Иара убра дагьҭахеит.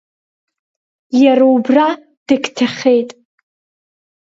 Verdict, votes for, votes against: accepted, 3, 0